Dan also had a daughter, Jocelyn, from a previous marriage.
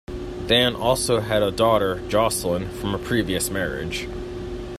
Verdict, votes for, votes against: rejected, 1, 2